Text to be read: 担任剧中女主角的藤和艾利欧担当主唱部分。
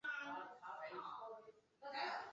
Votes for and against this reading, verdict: 0, 3, rejected